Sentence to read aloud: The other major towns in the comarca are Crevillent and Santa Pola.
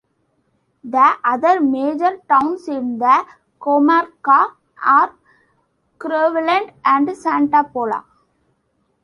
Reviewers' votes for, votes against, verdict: 2, 0, accepted